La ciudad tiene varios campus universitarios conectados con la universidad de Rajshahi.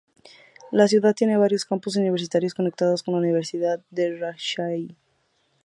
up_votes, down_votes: 2, 2